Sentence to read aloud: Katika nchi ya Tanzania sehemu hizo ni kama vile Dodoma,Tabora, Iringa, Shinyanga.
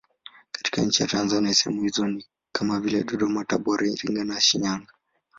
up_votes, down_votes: 2, 0